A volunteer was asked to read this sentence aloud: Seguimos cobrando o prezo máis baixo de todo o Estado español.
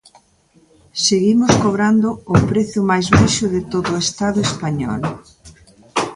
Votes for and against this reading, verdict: 1, 2, rejected